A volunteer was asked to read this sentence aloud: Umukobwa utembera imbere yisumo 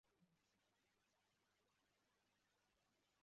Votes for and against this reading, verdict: 0, 2, rejected